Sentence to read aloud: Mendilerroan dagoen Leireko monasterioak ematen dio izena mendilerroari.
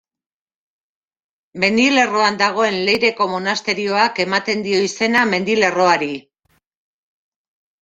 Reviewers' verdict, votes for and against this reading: accepted, 2, 0